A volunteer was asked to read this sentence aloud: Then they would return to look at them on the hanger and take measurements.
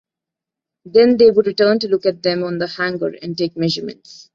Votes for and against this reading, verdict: 2, 0, accepted